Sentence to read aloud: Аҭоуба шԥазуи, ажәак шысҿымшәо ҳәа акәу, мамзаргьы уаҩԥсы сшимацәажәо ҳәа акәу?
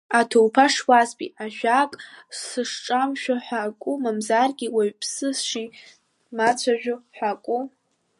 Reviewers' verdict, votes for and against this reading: rejected, 0, 2